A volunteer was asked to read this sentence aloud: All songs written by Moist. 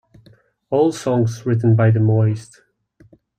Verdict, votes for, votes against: rejected, 1, 2